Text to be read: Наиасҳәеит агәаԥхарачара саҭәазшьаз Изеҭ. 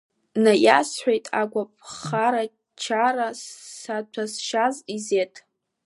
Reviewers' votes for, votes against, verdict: 1, 2, rejected